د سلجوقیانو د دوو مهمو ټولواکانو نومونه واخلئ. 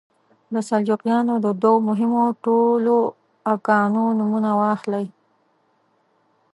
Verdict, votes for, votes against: rejected, 0, 2